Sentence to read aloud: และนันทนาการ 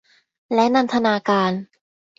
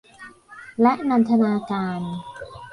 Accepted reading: first